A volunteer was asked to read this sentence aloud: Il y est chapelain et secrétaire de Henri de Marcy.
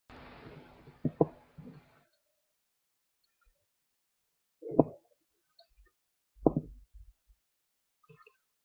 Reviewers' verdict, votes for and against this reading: rejected, 0, 2